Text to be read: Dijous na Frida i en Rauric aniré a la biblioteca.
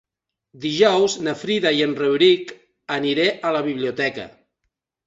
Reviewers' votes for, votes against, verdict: 3, 0, accepted